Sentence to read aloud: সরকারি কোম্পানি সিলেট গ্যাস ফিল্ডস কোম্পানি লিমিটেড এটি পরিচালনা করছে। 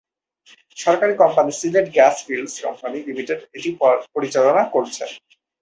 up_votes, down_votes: 0, 2